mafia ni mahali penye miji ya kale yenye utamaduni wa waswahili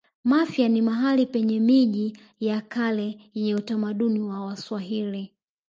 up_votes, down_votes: 2, 0